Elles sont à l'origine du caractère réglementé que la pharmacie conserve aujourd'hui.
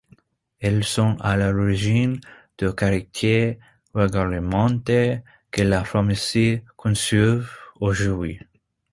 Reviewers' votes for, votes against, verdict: 1, 2, rejected